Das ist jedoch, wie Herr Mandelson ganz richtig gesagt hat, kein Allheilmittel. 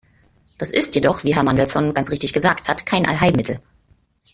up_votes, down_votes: 2, 1